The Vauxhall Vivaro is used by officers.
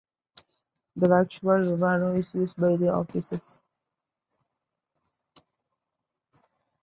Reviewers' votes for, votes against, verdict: 0, 2, rejected